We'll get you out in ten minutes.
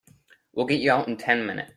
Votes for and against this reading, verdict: 1, 2, rejected